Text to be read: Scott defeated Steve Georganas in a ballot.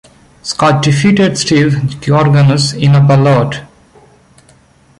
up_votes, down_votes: 0, 2